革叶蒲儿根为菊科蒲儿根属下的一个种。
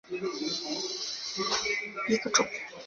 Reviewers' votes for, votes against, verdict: 0, 2, rejected